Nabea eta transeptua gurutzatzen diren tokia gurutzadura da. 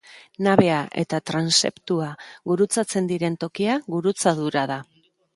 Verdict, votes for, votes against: accepted, 2, 0